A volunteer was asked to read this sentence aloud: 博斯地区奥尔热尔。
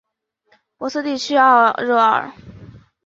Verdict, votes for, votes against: accepted, 3, 2